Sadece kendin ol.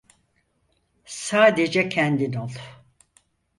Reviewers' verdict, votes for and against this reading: accepted, 4, 0